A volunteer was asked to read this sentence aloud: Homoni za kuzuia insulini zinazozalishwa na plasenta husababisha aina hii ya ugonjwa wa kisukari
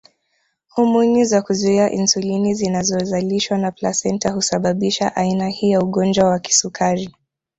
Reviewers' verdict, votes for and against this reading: rejected, 1, 2